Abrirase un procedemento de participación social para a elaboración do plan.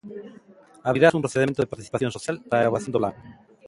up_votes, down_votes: 0, 2